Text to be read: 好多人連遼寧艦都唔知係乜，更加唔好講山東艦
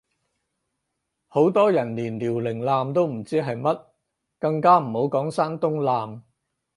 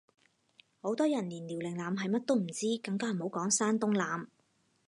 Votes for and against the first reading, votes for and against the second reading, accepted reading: 4, 0, 2, 4, first